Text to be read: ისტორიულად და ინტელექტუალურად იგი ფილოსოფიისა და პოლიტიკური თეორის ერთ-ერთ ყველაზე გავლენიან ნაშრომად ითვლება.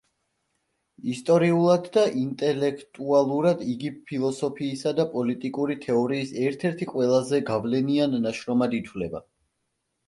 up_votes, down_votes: 0, 2